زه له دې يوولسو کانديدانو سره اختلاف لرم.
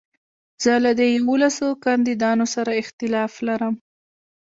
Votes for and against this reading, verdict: 1, 2, rejected